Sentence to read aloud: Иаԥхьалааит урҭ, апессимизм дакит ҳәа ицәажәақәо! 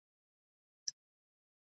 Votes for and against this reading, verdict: 0, 3, rejected